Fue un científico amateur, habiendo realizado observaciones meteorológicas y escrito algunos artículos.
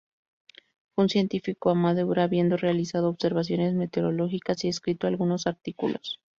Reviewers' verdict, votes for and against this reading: rejected, 0, 2